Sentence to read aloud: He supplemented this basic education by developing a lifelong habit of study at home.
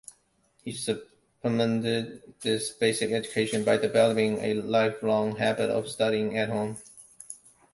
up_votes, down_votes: 0, 2